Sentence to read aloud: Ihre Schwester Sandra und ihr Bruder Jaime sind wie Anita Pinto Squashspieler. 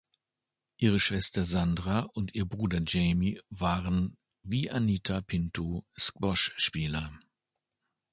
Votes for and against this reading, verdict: 1, 2, rejected